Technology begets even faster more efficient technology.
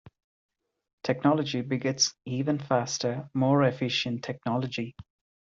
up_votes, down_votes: 2, 0